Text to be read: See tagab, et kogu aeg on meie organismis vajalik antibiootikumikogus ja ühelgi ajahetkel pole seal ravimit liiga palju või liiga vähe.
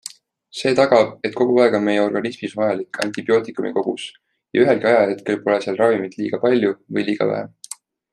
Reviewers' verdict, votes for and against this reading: accepted, 2, 0